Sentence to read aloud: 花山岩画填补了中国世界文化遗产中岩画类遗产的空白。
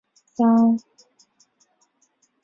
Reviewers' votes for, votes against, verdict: 1, 3, rejected